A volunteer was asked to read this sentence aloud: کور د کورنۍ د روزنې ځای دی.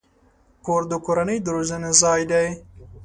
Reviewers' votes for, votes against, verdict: 2, 0, accepted